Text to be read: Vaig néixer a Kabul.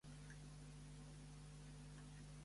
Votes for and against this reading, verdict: 0, 2, rejected